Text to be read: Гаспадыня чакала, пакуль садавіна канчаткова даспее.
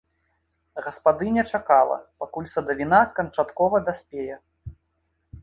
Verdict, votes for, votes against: rejected, 1, 2